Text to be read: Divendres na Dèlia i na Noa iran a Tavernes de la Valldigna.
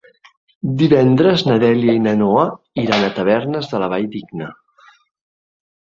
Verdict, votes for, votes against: accepted, 5, 0